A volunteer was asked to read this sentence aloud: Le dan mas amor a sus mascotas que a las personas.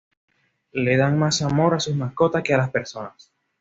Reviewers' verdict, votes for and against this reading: accepted, 2, 0